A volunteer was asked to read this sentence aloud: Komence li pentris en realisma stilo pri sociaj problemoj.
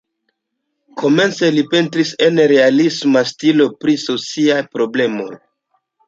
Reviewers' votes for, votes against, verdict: 0, 2, rejected